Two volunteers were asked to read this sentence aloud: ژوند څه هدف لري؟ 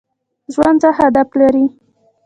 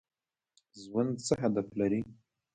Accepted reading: second